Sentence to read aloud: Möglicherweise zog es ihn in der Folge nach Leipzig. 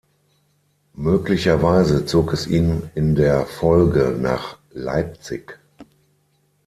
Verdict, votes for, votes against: accepted, 6, 0